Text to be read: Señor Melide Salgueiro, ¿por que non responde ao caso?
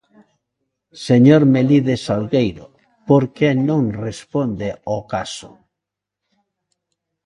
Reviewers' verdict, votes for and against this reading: accepted, 2, 0